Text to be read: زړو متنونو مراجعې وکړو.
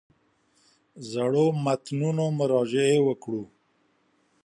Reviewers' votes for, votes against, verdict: 1, 2, rejected